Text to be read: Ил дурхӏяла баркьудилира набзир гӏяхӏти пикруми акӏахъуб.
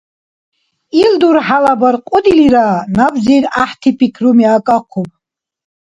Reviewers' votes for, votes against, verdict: 2, 0, accepted